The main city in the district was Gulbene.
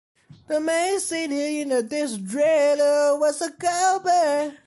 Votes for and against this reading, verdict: 0, 2, rejected